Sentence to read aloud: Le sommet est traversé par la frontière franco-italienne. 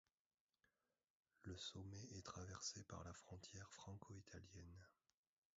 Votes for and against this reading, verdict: 0, 2, rejected